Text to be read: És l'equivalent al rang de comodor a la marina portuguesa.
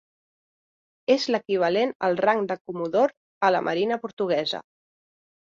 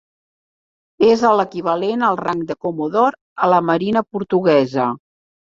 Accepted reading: first